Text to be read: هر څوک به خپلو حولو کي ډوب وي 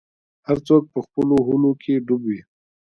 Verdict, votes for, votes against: rejected, 1, 2